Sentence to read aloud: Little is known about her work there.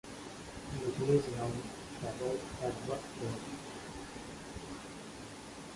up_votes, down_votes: 0, 2